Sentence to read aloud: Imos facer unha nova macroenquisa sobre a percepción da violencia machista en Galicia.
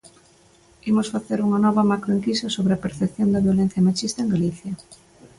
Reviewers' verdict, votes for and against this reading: accepted, 3, 0